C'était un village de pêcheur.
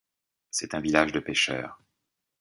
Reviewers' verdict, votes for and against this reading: rejected, 1, 2